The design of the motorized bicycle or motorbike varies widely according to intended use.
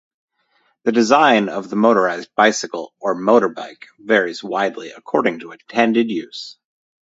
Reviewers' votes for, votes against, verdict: 2, 0, accepted